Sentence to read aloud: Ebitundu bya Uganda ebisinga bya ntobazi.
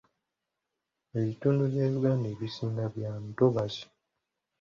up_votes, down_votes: 2, 0